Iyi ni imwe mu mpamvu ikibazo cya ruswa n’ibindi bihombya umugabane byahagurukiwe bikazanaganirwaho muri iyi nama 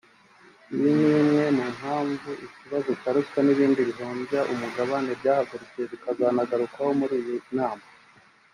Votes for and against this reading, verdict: 2, 3, rejected